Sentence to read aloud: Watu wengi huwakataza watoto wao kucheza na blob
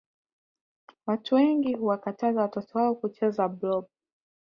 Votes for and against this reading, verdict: 0, 2, rejected